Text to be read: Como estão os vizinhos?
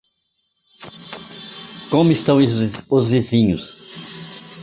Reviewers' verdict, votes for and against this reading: rejected, 1, 3